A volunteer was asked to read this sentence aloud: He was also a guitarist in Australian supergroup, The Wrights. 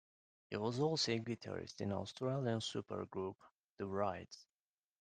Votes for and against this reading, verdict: 1, 2, rejected